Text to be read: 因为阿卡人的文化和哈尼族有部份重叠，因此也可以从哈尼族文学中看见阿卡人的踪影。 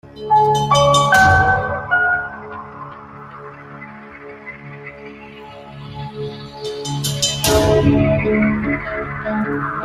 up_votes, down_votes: 0, 2